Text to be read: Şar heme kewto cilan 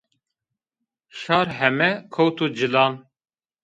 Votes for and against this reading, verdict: 2, 0, accepted